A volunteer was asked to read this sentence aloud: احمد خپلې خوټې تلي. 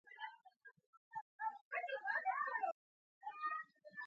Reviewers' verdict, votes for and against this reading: rejected, 0, 2